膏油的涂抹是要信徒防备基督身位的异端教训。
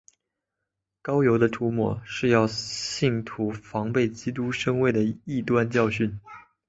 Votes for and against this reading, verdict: 6, 1, accepted